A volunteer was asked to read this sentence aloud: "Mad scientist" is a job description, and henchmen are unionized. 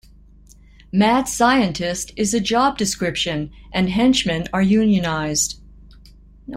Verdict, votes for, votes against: accepted, 2, 0